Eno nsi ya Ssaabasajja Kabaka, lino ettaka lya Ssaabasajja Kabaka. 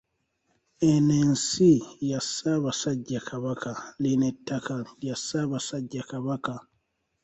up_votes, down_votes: 2, 0